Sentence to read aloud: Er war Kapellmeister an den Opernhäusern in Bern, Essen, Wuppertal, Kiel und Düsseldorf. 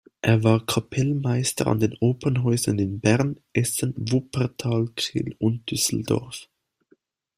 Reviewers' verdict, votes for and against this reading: accepted, 2, 1